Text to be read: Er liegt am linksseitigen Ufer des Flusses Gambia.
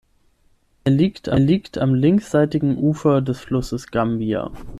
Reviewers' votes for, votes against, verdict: 3, 6, rejected